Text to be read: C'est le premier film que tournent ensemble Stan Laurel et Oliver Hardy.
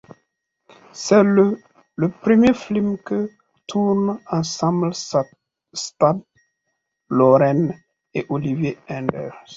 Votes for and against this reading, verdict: 1, 2, rejected